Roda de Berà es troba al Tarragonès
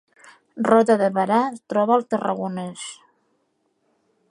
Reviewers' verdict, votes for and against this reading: accepted, 2, 0